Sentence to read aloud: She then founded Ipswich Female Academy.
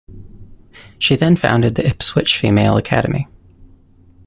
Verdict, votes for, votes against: rejected, 0, 2